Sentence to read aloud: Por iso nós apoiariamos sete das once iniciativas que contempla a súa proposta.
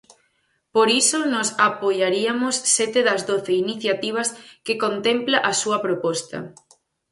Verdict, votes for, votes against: rejected, 0, 4